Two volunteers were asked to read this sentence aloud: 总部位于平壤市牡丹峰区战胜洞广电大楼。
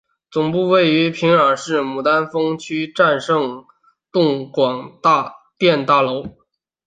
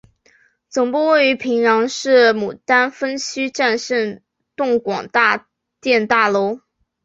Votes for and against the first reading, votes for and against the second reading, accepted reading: 3, 1, 0, 2, first